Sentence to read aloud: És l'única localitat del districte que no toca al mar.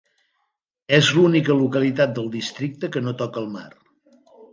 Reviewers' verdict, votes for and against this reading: accepted, 3, 0